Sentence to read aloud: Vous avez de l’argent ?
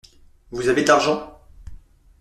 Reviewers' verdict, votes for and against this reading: accepted, 2, 0